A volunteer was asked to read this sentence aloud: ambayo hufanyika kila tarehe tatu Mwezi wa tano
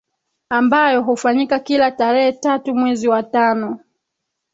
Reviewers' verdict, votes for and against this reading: rejected, 2, 3